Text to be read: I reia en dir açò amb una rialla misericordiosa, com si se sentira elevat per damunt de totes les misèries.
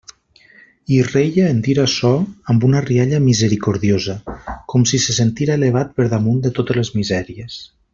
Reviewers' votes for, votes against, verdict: 0, 2, rejected